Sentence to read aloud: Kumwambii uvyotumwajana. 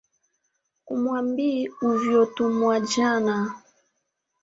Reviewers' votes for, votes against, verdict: 2, 0, accepted